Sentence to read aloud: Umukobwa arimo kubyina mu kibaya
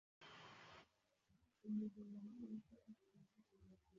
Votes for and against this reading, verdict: 0, 2, rejected